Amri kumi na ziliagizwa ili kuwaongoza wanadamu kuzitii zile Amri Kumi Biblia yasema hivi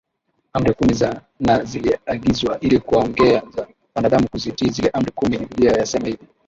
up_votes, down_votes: 1, 2